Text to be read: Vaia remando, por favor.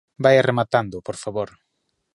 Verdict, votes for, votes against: rejected, 0, 2